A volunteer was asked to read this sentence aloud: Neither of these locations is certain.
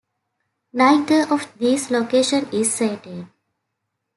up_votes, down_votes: 1, 2